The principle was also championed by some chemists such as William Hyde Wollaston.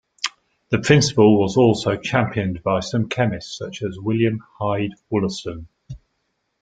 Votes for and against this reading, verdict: 2, 0, accepted